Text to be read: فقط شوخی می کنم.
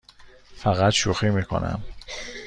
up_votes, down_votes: 2, 0